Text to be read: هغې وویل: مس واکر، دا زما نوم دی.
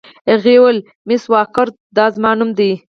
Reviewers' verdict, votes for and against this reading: rejected, 2, 4